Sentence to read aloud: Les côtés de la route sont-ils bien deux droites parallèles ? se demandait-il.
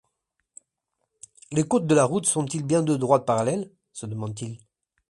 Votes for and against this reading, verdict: 1, 2, rejected